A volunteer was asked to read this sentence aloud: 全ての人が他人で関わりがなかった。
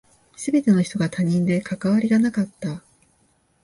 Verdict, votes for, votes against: accepted, 2, 0